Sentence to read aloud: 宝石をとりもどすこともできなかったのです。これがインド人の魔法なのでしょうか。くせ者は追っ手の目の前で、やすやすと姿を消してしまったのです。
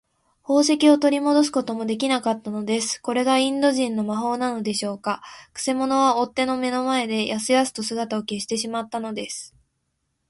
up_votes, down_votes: 2, 0